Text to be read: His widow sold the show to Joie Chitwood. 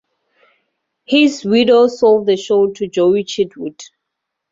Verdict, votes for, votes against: accepted, 4, 0